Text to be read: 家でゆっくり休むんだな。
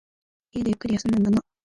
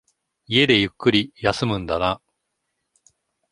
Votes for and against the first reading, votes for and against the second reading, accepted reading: 1, 2, 2, 0, second